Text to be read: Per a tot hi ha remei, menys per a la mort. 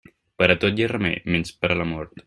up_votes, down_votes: 2, 0